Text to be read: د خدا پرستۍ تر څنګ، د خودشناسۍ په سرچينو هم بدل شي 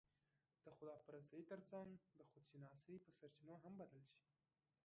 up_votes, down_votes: 1, 2